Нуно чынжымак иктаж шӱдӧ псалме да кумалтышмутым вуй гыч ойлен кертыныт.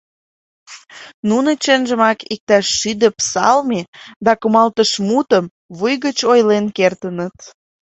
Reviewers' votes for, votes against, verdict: 3, 0, accepted